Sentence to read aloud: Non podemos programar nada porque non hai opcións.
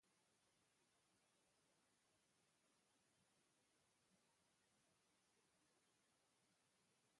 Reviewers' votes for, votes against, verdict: 0, 2, rejected